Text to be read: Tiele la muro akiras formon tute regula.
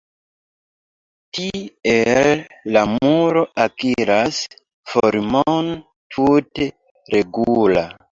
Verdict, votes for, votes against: rejected, 0, 2